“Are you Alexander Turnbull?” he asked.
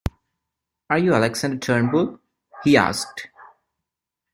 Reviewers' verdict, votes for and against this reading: rejected, 1, 2